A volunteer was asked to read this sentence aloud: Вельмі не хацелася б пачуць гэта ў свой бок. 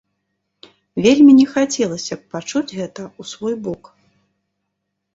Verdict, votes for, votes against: rejected, 1, 2